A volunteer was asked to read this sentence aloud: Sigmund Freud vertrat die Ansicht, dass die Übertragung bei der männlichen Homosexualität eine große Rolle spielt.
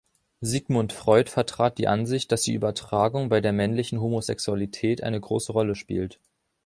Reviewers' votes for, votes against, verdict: 2, 0, accepted